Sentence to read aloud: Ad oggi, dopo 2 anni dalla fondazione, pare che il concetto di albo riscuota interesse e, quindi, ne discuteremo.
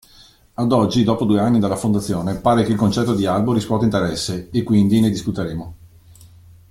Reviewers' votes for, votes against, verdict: 0, 2, rejected